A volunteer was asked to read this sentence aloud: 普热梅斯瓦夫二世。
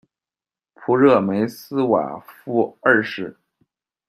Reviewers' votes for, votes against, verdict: 2, 0, accepted